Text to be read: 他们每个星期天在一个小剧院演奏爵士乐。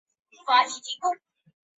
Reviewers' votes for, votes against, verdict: 1, 2, rejected